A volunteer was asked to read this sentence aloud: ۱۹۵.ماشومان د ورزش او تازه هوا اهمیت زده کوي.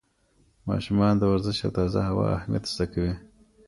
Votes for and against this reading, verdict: 0, 2, rejected